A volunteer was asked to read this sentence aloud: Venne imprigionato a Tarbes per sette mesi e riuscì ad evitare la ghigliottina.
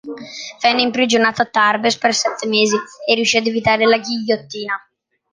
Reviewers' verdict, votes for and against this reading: accepted, 2, 0